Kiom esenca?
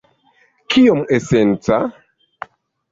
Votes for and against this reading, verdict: 2, 0, accepted